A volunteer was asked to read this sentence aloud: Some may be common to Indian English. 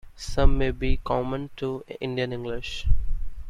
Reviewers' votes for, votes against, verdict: 2, 0, accepted